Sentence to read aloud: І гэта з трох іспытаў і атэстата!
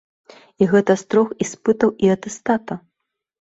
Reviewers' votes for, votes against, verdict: 2, 0, accepted